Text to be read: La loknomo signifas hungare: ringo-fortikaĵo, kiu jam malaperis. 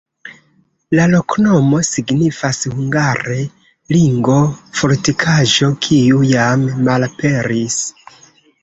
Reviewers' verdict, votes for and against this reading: rejected, 0, 2